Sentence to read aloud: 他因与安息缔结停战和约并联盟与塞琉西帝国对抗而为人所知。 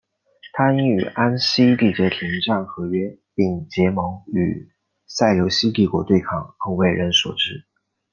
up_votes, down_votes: 2, 1